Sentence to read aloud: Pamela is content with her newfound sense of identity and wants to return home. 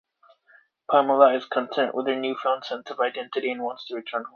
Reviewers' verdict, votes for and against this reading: rejected, 0, 2